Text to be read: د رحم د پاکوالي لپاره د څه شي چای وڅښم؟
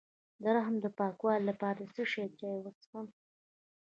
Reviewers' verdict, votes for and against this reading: rejected, 1, 2